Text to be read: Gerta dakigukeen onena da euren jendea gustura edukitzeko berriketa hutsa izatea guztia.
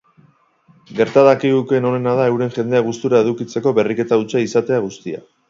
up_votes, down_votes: 6, 0